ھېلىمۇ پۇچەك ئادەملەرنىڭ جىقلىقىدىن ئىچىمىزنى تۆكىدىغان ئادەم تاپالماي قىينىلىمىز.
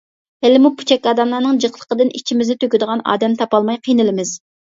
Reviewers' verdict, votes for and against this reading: accepted, 2, 0